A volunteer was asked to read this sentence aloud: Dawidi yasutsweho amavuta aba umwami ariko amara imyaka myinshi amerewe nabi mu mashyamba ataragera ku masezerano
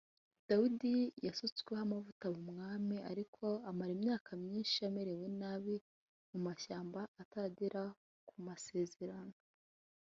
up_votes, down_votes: 2, 1